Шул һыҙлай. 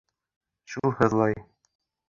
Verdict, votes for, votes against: rejected, 1, 2